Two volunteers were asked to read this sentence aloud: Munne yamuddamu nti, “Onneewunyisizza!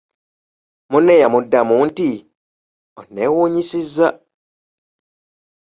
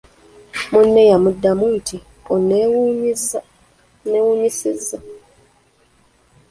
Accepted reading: first